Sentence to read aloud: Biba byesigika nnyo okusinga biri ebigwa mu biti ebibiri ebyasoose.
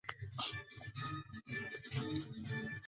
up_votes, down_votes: 0, 2